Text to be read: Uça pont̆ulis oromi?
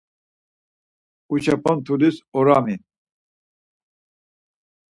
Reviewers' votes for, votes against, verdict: 2, 4, rejected